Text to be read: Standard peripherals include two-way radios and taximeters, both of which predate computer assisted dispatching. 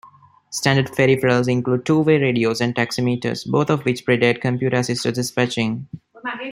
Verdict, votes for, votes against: rejected, 1, 2